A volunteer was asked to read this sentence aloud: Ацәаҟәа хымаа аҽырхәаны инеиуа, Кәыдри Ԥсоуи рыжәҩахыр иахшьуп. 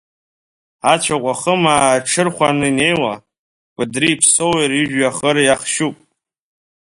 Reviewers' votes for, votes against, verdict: 0, 2, rejected